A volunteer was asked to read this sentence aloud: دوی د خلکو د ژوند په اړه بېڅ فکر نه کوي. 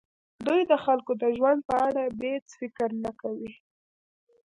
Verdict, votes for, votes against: rejected, 1, 2